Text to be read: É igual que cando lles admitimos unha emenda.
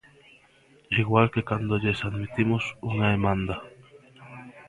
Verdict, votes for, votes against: rejected, 0, 2